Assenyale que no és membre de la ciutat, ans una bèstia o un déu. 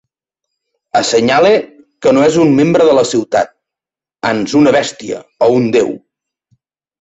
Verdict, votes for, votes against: rejected, 0, 2